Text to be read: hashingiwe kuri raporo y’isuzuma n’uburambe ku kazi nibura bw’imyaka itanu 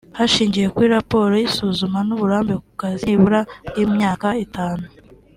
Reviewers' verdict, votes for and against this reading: accepted, 2, 0